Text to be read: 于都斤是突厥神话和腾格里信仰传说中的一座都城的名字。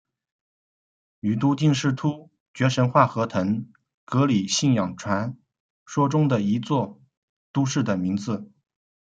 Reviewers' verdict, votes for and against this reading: rejected, 1, 3